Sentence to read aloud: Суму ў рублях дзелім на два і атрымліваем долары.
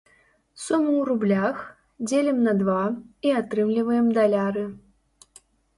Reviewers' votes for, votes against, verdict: 1, 2, rejected